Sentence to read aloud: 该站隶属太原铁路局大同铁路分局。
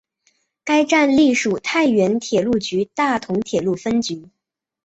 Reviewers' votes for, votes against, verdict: 3, 0, accepted